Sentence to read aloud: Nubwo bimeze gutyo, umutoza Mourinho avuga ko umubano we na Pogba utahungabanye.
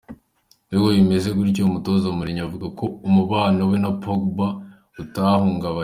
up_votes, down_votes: 2, 0